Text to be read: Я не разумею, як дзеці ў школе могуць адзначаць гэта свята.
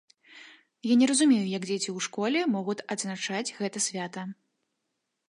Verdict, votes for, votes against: rejected, 1, 2